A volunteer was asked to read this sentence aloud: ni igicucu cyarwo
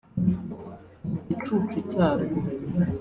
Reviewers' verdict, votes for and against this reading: rejected, 0, 2